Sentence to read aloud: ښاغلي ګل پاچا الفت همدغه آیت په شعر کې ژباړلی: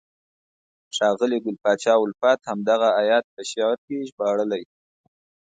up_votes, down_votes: 2, 0